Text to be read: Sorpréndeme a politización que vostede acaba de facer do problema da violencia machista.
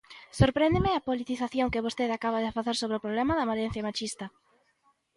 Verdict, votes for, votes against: rejected, 0, 2